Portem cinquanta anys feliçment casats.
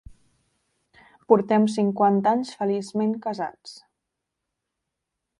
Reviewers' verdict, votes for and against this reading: accepted, 3, 0